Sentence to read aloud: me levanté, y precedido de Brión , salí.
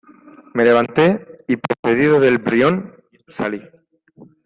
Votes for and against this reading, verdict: 2, 1, accepted